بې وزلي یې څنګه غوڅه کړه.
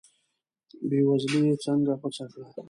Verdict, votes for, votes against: rejected, 1, 2